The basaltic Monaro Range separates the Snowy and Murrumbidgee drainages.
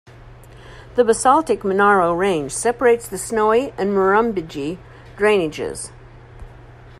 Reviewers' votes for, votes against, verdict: 0, 2, rejected